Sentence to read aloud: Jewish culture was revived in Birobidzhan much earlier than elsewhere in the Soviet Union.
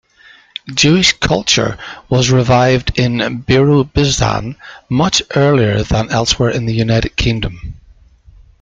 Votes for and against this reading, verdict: 0, 2, rejected